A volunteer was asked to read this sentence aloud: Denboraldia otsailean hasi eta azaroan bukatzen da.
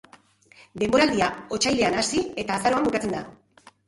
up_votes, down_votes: 4, 0